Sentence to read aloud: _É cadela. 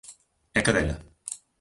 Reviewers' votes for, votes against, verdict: 2, 1, accepted